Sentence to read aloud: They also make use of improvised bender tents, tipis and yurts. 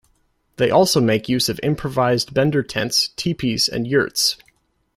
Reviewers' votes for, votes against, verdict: 2, 0, accepted